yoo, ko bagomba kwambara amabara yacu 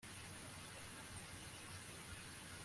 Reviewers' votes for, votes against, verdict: 0, 2, rejected